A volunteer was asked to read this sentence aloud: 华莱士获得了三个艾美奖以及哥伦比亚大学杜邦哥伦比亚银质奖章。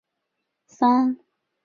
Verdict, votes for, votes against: rejected, 0, 2